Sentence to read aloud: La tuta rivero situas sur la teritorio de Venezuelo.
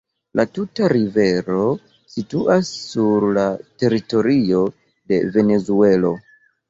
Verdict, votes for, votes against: accepted, 2, 0